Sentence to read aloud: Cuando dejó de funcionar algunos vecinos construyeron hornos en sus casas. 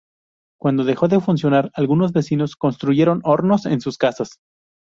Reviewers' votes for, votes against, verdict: 2, 0, accepted